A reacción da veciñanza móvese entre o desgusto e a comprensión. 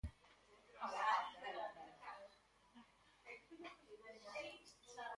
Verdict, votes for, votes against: rejected, 0, 2